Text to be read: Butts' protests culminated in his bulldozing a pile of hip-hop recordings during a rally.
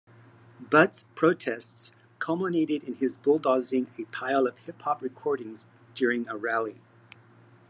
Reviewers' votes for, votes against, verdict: 2, 0, accepted